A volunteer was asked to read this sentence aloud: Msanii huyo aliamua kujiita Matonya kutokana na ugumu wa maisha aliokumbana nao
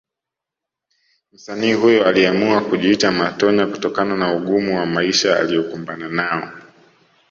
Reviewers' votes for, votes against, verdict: 2, 0, accepted